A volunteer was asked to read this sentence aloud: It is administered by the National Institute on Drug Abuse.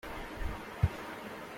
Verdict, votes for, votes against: rejected, 0, 2